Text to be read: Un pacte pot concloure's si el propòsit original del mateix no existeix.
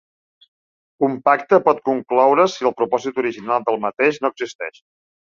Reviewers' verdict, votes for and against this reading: accepted, 2, 0